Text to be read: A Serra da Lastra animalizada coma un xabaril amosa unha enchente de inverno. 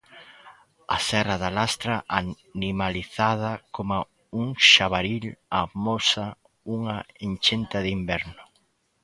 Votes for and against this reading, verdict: 1, 2, rejected